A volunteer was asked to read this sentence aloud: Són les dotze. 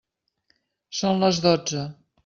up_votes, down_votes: 3, 0